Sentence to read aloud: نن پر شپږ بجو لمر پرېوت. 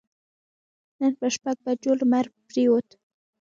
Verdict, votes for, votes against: rejected, 0, 2